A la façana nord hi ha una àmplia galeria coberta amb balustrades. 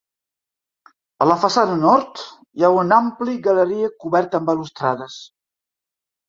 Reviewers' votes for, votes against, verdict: 1, 2, rejected